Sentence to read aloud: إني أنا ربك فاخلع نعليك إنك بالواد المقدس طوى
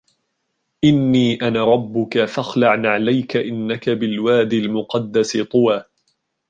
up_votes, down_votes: 3, 0